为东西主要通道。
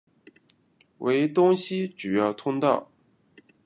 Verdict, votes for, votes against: rejected, 1, 2